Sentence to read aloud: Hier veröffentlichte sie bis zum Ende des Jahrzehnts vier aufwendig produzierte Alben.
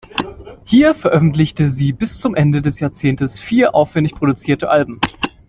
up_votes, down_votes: 2, 0